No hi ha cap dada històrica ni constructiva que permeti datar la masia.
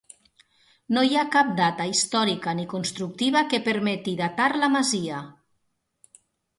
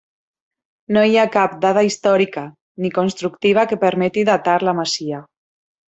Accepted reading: second